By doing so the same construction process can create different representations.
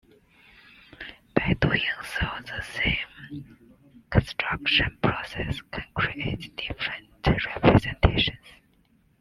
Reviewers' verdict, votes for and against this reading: rejected, 1, 2